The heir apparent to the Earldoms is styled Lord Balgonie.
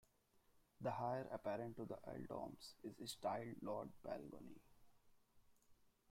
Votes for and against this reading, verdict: 1, 2, rejected